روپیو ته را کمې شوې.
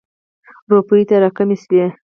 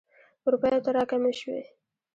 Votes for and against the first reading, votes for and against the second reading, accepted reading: 2, 4, 2, 0, second